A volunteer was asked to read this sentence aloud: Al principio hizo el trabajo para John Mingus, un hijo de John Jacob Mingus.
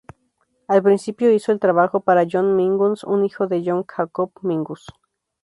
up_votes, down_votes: 0, 2